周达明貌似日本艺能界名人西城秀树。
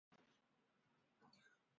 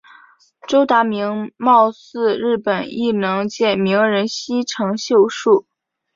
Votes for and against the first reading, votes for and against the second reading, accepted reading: 1, 2, 3, 0, second